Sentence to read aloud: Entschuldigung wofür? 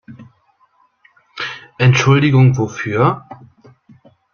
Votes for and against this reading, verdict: 2, 0, accepted